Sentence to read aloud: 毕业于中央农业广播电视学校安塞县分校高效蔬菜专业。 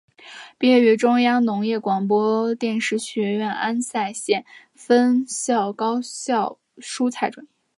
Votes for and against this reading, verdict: 2, 1, accepted